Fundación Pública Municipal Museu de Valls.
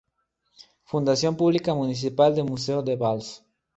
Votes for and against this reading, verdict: 0, 4, rejected